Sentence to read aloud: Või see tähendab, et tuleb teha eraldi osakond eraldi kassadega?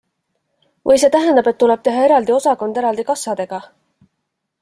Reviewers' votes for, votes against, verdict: 2, 0, accepted